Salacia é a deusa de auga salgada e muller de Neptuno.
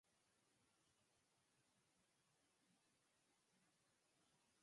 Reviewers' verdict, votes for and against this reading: rejected, 0, 4